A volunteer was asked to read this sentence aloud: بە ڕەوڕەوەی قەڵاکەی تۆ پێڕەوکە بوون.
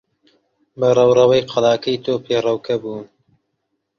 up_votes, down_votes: 2, 0